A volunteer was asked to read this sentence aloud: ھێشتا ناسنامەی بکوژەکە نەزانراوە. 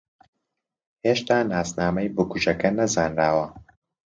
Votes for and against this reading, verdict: 2, 0, accepted